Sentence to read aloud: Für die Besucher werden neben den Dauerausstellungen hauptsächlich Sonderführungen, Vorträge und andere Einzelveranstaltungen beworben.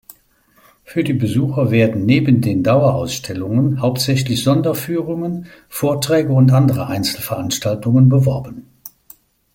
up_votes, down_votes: 2, 0